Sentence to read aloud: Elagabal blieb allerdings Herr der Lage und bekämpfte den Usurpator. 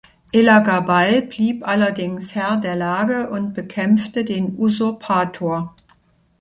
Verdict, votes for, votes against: accepted, 2, 0